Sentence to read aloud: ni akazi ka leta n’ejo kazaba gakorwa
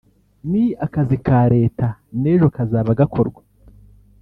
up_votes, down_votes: 1, 2